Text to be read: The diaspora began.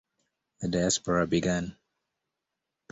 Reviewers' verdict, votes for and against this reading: accepted, 2, 0